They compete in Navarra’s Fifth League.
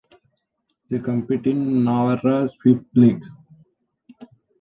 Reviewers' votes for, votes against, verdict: 0, 2, rejected